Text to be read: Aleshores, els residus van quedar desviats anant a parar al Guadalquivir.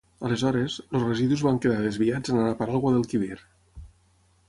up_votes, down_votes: 0, 6